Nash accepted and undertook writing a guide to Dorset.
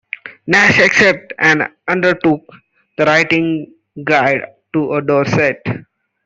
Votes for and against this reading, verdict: 0, 2, rejected